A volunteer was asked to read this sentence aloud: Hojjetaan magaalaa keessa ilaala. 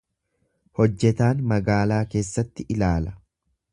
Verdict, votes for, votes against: rejected, 1, 2